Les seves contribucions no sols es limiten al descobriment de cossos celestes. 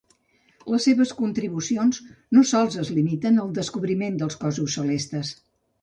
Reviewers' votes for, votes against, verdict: 2, 3, rejected